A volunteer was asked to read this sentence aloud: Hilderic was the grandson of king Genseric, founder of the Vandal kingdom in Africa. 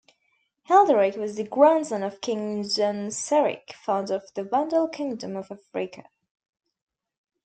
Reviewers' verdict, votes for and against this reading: rejected, 0, 2